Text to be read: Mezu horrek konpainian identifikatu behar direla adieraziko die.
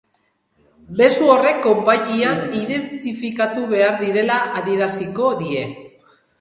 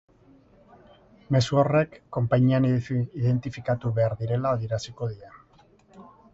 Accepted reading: first